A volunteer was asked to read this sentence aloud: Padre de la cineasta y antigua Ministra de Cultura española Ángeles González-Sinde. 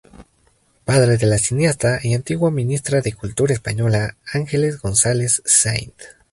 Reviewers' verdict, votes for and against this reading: rejected, 0, 2